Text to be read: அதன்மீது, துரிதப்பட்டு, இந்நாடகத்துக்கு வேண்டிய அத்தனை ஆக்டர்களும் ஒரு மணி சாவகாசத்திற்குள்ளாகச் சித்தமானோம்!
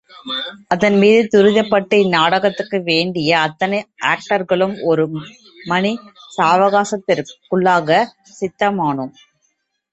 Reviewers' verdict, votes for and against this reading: rejected, 1, 3